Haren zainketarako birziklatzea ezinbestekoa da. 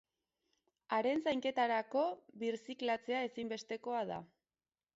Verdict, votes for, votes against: rejected, 2, 2